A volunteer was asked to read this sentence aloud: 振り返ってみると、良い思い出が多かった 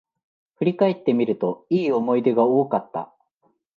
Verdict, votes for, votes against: accepted, 2, 0